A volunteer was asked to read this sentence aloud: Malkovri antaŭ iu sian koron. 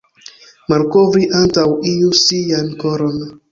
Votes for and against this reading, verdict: 2, 1, accepted